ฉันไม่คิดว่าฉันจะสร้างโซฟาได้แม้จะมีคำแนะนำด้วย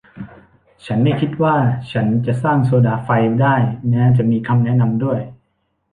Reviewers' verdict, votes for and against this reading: rejected, 0, 2